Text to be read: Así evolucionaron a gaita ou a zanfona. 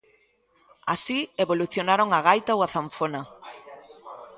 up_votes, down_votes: 0, 2